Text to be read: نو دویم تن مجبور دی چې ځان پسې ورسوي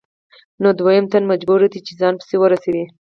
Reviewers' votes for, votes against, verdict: 4, 2, accepted